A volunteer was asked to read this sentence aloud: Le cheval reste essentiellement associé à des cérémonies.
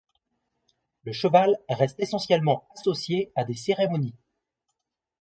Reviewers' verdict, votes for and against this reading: accepted, 2, 0